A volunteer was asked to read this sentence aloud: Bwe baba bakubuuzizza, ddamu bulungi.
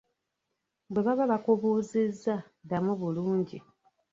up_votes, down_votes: 0, 2